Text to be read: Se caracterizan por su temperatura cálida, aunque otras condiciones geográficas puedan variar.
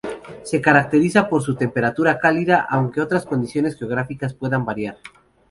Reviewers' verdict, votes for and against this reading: accepted, 6, 0